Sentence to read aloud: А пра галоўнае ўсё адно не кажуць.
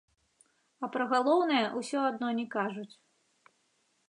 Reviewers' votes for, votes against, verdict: 2, 0, accepted